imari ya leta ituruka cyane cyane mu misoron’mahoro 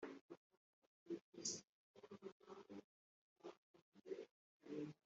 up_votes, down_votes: 1, 2